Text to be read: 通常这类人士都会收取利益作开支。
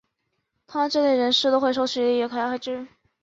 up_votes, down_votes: 3, 5